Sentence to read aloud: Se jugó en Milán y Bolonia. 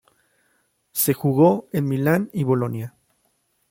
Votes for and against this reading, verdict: 2, 0, accepted